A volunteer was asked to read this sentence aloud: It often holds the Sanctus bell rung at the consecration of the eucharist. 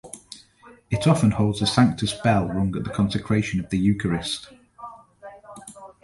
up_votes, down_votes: 2, 0